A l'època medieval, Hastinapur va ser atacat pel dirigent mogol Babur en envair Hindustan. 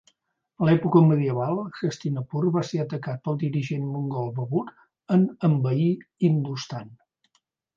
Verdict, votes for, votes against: rejected, 0, 2